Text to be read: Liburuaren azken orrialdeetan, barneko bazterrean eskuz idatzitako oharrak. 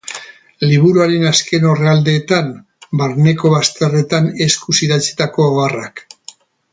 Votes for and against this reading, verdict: 0, 4, rejected